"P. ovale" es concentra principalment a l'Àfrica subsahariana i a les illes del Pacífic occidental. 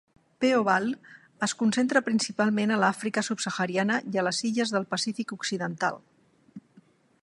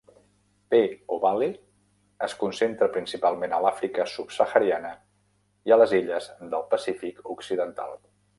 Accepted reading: first